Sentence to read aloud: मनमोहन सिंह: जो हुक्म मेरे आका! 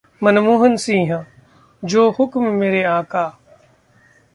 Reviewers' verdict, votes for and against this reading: accepted, 2, 0